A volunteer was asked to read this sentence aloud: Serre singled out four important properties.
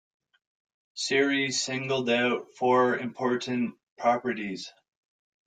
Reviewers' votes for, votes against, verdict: 2, 0, accepted